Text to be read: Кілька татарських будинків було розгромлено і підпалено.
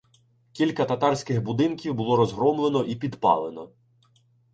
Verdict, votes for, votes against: accepted, 2, 0